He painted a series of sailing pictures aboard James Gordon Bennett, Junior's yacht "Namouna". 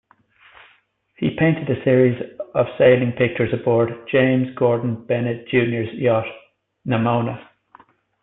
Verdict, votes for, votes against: accepted, 2, 1